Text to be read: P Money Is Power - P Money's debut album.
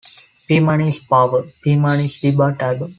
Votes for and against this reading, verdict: 1, 2, rejected